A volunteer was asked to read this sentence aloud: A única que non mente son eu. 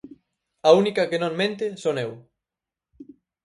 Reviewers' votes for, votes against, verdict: 4, 2, accepted